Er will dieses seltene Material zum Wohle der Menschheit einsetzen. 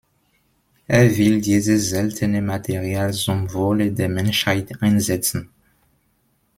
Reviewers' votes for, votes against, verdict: 2, 0, accepted